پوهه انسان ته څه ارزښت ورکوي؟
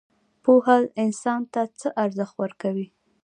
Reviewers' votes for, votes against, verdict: 2, 0, accepted